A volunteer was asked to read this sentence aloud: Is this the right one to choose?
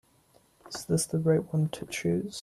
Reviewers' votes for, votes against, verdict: 2, 0, accepted